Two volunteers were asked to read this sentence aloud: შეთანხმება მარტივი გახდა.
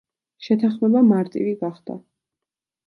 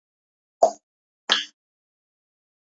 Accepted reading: first